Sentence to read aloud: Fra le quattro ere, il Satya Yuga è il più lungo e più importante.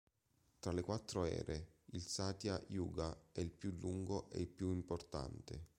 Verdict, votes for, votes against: rejected, 0, 2